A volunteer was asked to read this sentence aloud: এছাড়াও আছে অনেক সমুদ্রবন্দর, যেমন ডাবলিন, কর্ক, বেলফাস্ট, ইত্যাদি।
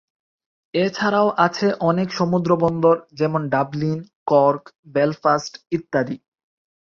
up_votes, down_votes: 4, 0